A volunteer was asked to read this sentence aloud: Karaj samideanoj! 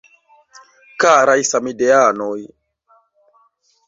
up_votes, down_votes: 2, 0